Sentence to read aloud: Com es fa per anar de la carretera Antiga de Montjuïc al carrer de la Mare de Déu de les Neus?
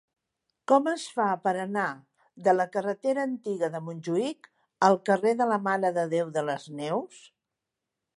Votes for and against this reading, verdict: 3, 0, accepted